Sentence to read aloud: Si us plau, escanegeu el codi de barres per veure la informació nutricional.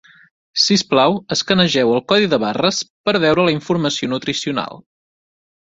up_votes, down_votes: 3, 0